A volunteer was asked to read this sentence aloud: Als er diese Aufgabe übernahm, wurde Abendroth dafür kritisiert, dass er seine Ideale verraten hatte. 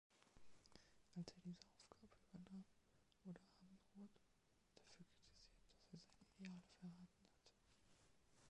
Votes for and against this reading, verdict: 0, 2, rejected